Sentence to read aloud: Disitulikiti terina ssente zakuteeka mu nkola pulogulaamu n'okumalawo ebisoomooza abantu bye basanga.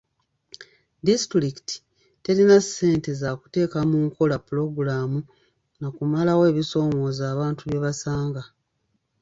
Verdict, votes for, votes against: rejected, 1, 2